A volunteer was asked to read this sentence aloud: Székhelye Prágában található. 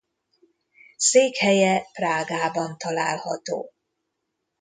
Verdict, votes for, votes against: accepted, 2, 0